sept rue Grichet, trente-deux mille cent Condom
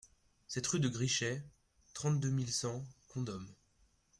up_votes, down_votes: 2, 1